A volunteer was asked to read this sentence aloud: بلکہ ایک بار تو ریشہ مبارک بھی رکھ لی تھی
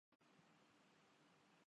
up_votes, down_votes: 0, 2